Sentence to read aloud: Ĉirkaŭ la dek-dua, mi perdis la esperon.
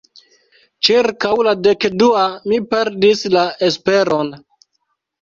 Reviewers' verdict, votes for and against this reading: accepted, 2, 0